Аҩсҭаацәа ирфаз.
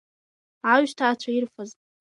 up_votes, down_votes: 2, 1